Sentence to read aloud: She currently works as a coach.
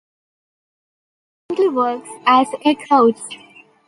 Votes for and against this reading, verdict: 0, 2, rejected